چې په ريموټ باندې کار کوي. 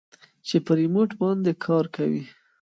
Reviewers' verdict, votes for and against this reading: rejected, 0, 2